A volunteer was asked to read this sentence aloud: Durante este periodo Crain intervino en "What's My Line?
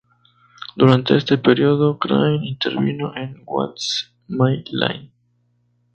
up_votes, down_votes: 2, 0